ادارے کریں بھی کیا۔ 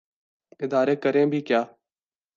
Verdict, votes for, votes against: accepted, 2, 0